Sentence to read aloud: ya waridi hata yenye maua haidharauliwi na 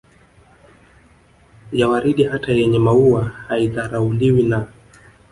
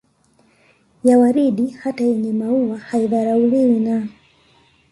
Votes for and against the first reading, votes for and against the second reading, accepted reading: 1, 2, 2, 0, second